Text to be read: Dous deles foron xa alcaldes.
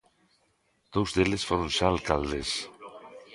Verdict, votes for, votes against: rejected, 1, 2